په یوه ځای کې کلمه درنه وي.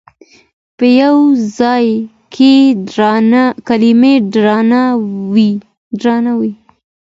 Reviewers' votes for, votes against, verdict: 1, 2, rejected